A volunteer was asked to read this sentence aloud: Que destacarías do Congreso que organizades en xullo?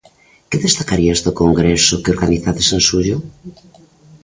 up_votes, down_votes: 2, 0